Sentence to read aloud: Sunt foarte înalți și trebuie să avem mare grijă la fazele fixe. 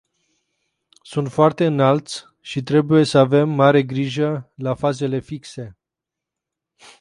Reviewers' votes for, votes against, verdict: 2, 2, rejected